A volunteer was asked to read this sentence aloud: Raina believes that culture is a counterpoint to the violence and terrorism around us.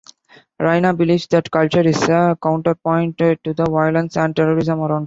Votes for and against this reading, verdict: 0, 2, rejected